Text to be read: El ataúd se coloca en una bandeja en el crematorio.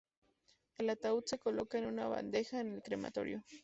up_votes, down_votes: 2, 0